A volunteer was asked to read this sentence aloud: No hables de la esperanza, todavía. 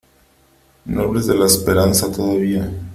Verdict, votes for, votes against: accepted, 3, 1